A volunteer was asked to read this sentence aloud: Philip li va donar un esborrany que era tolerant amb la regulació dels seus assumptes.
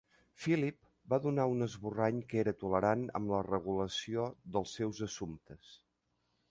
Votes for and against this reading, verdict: 1, 2, rejected